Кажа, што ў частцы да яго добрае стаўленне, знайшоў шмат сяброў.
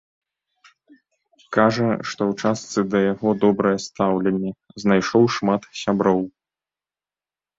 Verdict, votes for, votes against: accepted, 2, 0